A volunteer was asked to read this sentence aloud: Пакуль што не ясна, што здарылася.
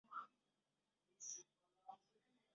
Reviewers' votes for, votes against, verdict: 0, 2, rejected